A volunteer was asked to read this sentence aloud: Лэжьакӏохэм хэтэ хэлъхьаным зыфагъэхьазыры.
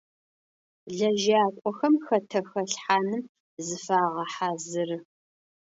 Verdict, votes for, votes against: accepted, 2, 0